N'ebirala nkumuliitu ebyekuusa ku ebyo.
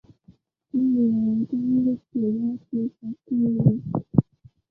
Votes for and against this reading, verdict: 0, 3, rejected